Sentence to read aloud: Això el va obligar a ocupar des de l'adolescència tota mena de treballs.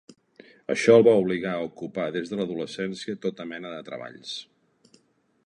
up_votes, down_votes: 4, 0